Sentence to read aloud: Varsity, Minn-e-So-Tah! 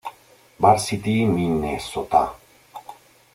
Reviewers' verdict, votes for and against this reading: rejected, 1, 2